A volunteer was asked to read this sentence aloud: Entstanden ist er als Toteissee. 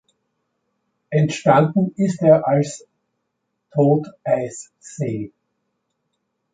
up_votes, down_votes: 2, 0